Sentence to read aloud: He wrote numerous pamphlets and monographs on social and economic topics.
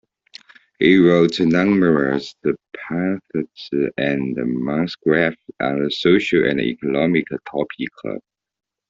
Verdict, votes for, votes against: rejected, 0, 2